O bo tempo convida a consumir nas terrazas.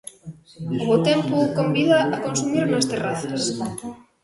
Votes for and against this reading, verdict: 0, 2, rejected